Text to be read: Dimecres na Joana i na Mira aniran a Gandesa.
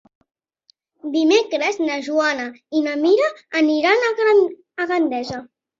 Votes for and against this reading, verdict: 2, 3, rejected